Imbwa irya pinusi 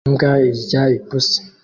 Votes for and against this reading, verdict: 1, 2, rejected